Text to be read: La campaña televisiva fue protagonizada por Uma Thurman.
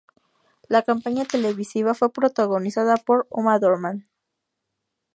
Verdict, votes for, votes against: accepted, 2, 0